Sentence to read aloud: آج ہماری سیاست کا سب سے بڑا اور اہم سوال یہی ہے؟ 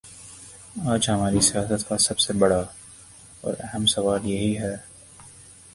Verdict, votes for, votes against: accepted, 3, 0